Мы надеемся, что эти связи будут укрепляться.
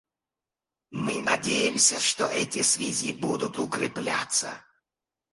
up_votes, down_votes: 2, 2